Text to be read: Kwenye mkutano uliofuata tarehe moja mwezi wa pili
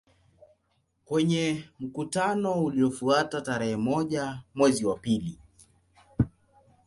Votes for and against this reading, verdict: 0, 2, rejected